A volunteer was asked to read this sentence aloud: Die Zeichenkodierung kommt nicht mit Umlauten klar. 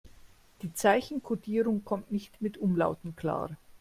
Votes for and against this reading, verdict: 2, 0, accepted